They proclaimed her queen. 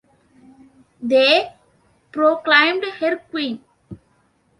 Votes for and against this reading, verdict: 2, 0, accepted